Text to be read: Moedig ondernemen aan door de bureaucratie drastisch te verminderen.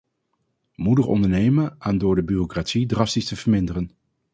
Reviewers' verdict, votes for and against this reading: rejected, 0, 2